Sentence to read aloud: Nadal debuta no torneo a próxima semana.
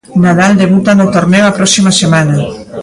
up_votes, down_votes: 2, 1